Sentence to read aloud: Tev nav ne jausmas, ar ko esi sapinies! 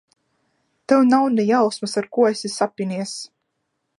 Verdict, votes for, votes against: rejected, 0, 2